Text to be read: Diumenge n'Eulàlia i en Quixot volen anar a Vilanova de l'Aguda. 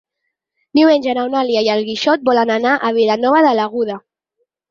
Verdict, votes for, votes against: accepted, 4, 0